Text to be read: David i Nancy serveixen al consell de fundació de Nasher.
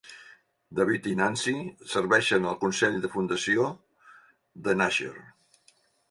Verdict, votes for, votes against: accepted, 3, 0